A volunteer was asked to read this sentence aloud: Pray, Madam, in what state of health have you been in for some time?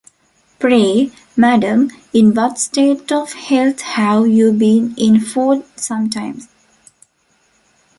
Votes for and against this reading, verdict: 1, 2, rejected